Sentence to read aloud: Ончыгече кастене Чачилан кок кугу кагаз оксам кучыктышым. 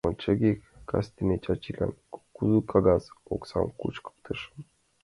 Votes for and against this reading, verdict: 1, 2, rejected